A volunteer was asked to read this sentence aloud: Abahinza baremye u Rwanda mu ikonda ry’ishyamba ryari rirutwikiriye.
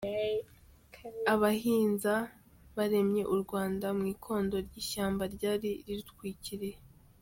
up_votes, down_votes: 2, 1